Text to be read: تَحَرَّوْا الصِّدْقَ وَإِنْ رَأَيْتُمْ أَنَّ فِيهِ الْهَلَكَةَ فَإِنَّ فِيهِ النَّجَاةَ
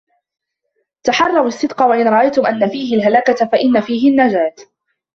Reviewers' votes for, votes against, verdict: 2, 0, accepted